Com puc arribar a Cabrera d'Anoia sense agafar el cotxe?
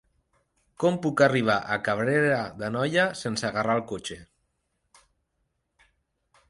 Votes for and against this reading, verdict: 0, 2, rejected